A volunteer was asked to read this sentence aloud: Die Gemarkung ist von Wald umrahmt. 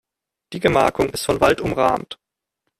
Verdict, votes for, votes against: accepted, 2, 0